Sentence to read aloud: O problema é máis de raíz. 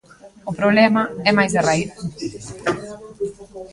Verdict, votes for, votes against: rejected, 1, 2